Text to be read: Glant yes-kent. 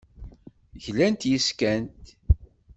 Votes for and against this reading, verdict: 0, 2, rejected